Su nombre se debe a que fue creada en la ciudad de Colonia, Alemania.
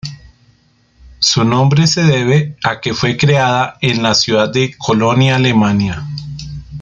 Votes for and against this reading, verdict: 2, 1, accepted